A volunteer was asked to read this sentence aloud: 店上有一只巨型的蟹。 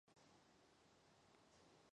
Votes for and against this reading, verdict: 1, 2, rejected